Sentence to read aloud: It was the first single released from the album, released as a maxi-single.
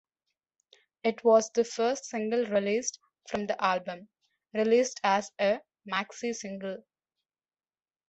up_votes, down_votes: 2, 0